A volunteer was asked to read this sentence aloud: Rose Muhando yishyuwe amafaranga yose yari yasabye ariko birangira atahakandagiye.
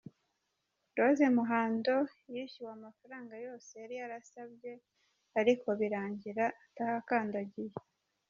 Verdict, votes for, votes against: rejected, 1, 2